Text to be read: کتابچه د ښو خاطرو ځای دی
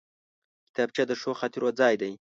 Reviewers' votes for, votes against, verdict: 3, 0, accepted